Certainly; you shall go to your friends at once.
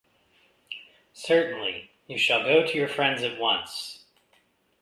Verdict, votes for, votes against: accepted, 2, 0